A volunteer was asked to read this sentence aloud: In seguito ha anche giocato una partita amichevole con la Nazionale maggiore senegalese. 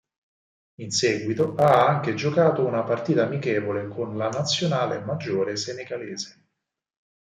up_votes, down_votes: 4, 0